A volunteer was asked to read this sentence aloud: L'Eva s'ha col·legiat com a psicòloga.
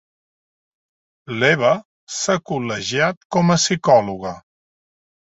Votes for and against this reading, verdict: 3, 0, accepted